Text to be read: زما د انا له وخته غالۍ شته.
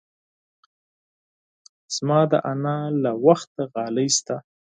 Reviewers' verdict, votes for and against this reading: accepted, 4, 0